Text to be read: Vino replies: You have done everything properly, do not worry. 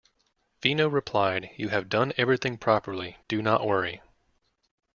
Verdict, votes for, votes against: rejected, 1, 2